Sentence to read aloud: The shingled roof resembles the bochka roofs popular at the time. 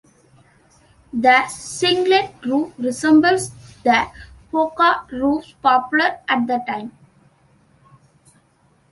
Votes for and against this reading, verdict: 0, 2, rejected